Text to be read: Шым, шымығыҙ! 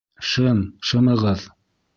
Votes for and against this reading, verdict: 2, 0, accepted